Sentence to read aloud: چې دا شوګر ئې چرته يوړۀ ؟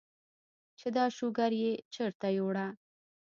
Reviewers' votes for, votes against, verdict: 0, 2, rejected